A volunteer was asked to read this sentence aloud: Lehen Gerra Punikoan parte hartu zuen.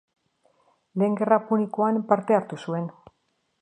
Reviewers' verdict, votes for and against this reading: accepted, 2, 0